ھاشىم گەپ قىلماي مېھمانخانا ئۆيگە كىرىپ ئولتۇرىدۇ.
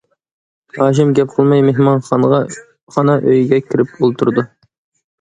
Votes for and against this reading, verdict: 0, 2, rejected